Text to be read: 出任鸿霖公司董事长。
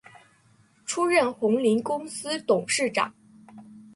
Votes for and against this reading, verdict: 0, 2, rejected